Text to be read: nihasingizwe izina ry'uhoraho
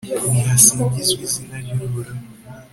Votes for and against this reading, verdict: 2, 0, accepted